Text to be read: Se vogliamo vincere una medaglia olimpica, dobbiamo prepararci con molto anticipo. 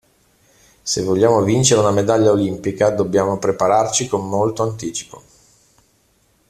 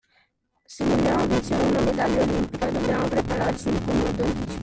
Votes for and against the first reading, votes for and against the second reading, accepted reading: 2, 0, 0, 2, first